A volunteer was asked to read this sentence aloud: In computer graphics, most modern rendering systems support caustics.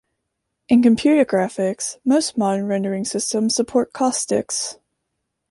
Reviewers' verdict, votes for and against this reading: accepted, 2, 0